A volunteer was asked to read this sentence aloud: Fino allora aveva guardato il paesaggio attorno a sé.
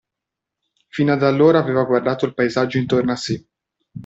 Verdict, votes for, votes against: rejected, 1, 2